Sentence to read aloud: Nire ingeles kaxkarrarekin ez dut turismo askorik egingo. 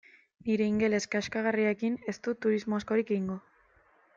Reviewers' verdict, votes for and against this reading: rejected, 0, 2